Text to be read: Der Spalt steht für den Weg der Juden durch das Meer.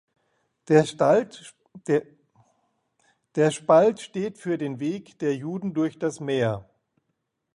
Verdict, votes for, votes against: rejected, 0, 2